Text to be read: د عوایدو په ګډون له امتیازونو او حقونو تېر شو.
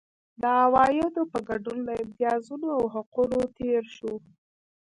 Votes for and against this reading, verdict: 0, 2, rejected